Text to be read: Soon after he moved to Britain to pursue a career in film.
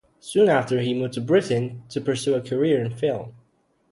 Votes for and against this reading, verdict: 2, 0, accepted